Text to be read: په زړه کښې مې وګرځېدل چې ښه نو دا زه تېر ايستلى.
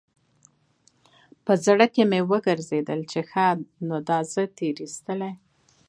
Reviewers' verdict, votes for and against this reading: rejected, 1, 2